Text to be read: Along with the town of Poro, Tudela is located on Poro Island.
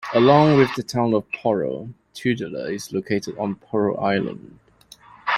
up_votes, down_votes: 2, 0